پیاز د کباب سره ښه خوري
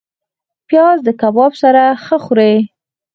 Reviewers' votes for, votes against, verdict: 4, 0, accepted